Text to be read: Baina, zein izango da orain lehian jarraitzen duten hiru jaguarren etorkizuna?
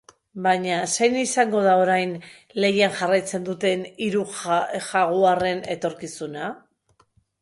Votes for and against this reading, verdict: 2, 2, rejected